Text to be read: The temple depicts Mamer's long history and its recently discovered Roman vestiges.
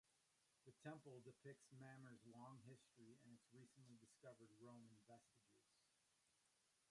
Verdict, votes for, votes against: rejected, 0, 2